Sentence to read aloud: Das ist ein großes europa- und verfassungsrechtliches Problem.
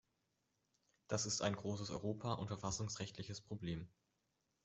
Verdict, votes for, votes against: accepted, 2, 0